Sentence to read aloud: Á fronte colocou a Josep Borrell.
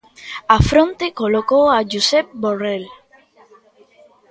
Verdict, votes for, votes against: accepted, 2, 0